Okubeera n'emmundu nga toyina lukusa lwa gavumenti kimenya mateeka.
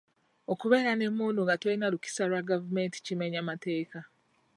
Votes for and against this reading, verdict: 0, 2, rejected